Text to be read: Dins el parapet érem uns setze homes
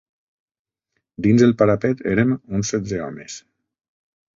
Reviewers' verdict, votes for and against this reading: accepted, 3, 0